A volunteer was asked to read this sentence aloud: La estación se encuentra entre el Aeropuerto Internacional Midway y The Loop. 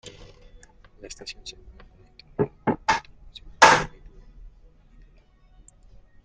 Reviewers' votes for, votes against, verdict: 0, 2, rejected